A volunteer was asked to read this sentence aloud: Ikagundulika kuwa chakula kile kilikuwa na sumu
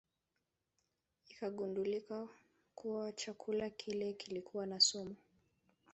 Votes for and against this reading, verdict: 1, 2, rejected